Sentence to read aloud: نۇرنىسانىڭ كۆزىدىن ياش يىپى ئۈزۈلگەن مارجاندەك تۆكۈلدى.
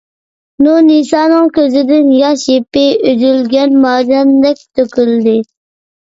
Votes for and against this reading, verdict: 2, 0, accepted